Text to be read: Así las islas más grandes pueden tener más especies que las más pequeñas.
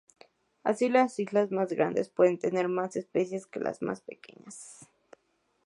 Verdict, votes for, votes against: accepted, 4, 0